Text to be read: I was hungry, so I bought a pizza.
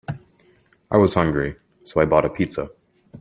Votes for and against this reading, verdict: 3, 0, accepted